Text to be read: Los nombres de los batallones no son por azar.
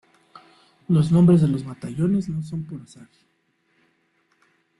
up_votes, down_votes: 1, 2